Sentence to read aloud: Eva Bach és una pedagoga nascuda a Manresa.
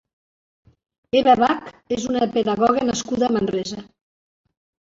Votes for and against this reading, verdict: 2, 0, accepted